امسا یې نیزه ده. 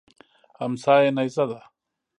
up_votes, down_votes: 2, 0